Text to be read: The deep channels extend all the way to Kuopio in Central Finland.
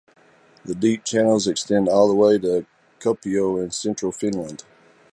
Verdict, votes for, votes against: rejected, 0, 2